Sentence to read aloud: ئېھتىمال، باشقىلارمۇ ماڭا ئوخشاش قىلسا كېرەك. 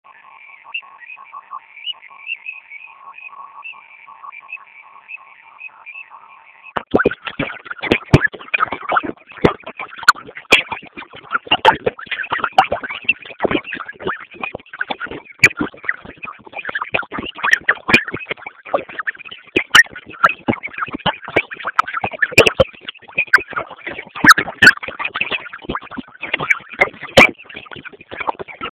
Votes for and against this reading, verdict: 0, 2, rejected